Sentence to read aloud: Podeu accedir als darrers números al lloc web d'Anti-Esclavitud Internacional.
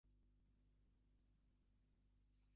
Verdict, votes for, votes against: rejected, 0, 2